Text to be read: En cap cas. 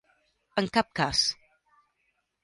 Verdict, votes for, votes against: accepted, 2, 0